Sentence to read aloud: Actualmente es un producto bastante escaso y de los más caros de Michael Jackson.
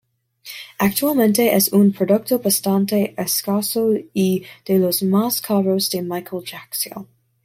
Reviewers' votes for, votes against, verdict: 2, 0, accepted